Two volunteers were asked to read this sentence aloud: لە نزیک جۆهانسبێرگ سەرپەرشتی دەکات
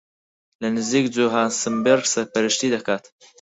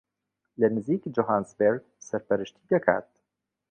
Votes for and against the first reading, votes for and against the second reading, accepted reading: 2, 4, 3, 0, second